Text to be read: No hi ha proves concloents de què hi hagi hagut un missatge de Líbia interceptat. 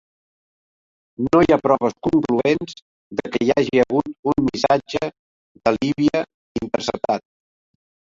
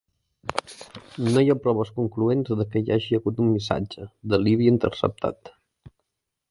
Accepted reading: second